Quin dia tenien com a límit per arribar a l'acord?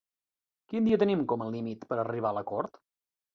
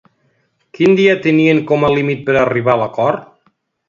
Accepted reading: second